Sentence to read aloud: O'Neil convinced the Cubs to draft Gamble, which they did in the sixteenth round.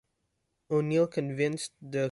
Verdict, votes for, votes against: rejected, 0, 2